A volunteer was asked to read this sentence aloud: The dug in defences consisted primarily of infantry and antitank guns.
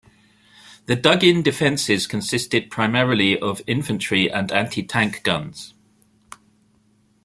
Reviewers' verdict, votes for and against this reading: accepted, 2, 0